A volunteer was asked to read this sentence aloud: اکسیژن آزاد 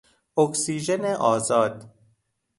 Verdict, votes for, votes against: accepted, 2, 0